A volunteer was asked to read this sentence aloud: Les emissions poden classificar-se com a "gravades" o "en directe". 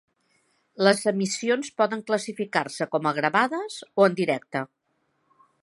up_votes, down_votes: 2, 0